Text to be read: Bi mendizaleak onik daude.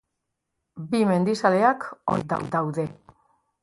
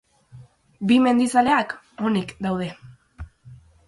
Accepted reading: second